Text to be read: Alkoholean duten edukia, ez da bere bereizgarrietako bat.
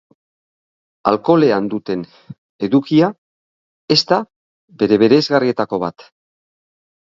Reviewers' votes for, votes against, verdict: 2, 0, accepted